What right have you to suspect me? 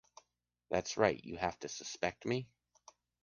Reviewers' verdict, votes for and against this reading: rejected, 0, 2